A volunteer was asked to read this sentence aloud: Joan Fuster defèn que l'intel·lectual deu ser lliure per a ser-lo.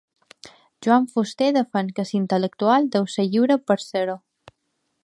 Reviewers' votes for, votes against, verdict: 2, 1, accepted